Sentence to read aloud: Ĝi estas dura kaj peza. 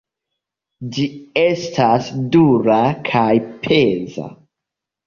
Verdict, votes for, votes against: accepted, 2, 0